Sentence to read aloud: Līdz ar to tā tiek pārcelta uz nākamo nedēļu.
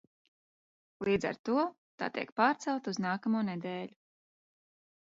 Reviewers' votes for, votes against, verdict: 2, 0, accepted